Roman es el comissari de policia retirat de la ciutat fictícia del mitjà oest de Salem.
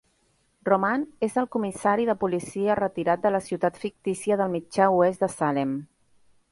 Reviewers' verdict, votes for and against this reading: accepted, 4, 0